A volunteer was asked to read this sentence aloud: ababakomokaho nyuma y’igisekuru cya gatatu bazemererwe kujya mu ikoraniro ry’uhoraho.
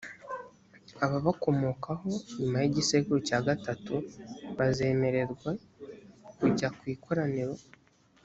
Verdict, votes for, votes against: rejected, 0, 2